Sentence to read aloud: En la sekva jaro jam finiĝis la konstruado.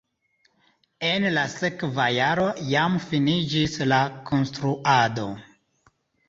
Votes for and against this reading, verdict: 2, 0, accepted